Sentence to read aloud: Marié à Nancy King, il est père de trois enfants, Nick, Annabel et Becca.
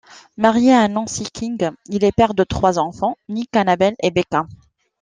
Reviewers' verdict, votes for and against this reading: accepted, 2, 0